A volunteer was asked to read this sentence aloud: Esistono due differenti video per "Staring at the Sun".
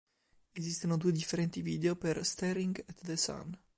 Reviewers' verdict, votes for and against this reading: accepted, 2, 1